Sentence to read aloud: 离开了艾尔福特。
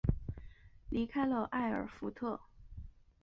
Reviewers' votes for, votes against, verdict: 3, 0, accepted